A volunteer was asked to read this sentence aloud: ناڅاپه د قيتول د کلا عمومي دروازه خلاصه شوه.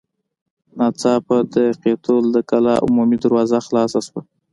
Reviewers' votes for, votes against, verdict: 2, 0, accepted